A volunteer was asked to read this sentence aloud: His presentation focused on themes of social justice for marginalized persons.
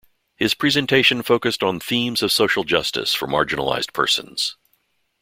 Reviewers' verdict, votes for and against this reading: accepted, 2, 0